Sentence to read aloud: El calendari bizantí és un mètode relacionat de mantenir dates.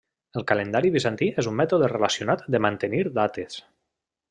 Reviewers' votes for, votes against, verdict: 3, 0, accepted